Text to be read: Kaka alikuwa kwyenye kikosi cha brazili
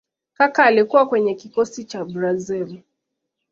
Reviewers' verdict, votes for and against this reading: accepted, 2, 0